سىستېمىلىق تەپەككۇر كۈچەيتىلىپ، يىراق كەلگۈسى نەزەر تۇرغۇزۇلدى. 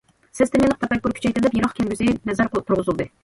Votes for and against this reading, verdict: 1, 2, rejected